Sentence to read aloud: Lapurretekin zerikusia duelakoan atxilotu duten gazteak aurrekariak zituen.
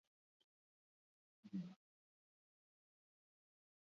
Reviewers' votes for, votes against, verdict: 2, 0, accepted